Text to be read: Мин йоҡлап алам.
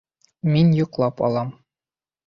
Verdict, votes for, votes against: accepted, 2, 0